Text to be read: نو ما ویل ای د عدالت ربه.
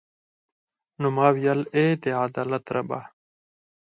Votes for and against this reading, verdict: 4, 0, accepted